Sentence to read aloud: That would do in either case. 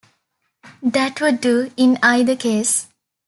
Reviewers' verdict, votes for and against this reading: accepted, 2, 0